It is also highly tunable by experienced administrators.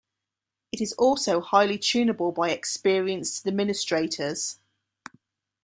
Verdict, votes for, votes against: accepted, 2, 0